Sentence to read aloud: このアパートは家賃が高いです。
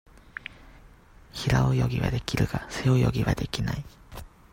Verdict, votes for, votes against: rejected, 0, 2